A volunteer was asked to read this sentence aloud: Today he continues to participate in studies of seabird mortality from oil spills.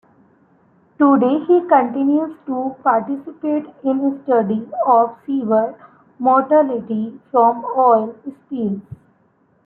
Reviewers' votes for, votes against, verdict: 1, 2, rejected